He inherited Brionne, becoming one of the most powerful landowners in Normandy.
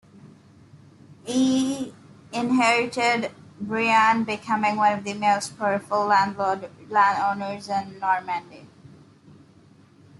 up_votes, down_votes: 2, 0